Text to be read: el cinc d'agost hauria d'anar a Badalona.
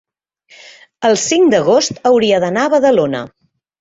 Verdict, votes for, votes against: accepted, 4, 0